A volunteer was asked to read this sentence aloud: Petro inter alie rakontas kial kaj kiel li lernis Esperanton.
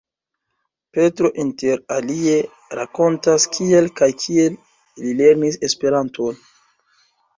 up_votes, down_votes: 1, 2